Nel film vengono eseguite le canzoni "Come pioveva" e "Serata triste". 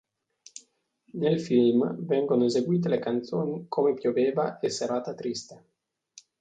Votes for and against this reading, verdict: 2, 0, accepted